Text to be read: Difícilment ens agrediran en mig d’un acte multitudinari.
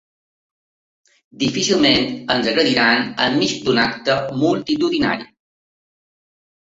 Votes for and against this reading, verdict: 3, 1, accepted